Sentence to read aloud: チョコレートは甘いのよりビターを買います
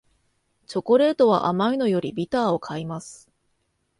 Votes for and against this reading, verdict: 2, 0, accepted